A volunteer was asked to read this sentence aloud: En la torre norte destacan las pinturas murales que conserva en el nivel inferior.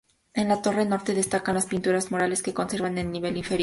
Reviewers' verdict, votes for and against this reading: accepted, 2, 0